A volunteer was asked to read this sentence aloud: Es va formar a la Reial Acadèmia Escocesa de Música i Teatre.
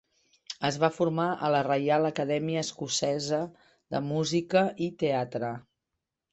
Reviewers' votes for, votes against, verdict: 5, 0, accepted